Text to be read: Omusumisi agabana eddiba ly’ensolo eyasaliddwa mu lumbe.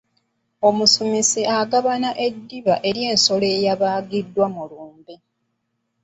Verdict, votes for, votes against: rejected, 0, 2